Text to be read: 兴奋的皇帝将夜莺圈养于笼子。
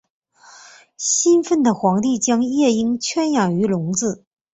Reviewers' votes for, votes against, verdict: 6, 0, accepted